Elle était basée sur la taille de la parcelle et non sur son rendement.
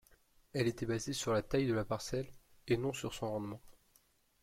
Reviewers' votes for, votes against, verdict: 2, 1, accepted